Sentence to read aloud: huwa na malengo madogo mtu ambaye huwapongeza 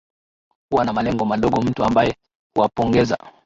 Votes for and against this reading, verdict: 2, 0, accepted